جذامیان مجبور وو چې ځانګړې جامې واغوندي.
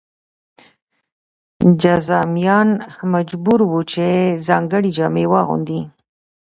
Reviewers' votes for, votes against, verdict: 2, 0, accepted